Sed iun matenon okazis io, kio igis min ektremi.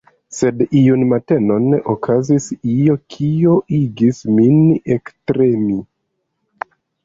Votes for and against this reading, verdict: 1, 2, rejected